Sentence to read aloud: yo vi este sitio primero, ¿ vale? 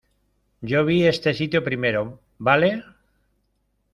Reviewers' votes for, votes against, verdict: 2, 0, accepted